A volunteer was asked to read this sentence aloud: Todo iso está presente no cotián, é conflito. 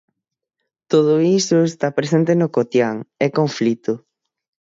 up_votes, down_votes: 6, 0